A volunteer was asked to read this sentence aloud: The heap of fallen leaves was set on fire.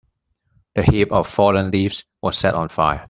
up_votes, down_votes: 1, 2